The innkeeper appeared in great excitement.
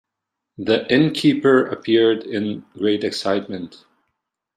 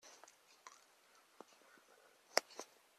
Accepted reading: first